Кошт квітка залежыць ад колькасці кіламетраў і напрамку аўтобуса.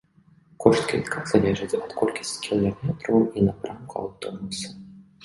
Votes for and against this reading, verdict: 0, 2, rejected